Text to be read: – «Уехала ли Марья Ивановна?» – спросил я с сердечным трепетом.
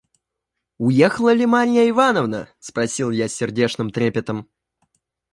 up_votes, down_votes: 2, 1